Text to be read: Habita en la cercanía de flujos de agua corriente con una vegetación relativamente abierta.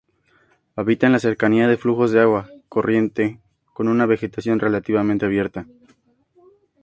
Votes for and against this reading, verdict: 2, 0, accepted